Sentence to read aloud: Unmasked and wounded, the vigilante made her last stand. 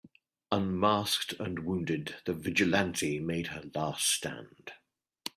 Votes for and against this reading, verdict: 2, 0, accepted